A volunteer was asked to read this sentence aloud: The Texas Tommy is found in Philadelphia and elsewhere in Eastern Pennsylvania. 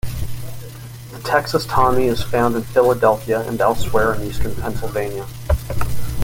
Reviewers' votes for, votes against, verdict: 2, 0, accepted